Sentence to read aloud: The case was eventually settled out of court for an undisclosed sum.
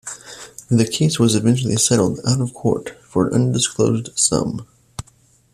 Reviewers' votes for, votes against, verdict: 2, 1, accepted